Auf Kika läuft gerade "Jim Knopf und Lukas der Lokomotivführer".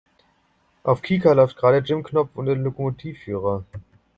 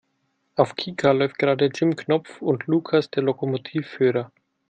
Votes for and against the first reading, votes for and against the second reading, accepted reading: 0, 3, 2, 0, second